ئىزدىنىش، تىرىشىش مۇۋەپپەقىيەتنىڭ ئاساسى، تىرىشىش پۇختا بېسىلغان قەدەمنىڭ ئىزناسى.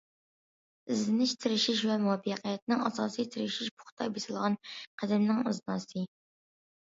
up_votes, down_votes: 2, 0